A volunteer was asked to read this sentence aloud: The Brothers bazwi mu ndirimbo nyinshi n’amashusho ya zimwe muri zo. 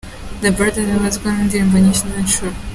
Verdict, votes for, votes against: rejected, 1, 2